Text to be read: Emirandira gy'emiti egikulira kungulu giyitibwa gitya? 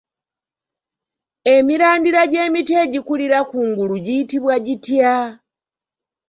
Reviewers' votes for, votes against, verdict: 2, 0, accepted